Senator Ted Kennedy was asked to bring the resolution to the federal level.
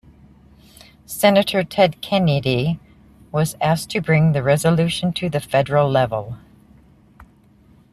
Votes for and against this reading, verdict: 1, 2, rejected